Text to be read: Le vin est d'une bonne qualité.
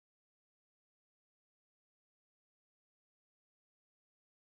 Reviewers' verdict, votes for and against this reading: rejected, 0, 2